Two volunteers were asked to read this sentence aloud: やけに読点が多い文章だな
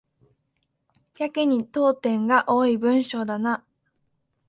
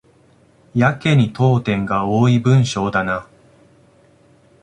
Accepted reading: first